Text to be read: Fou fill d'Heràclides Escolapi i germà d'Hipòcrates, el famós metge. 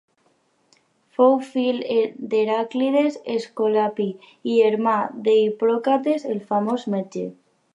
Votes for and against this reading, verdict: 2, 2, rejected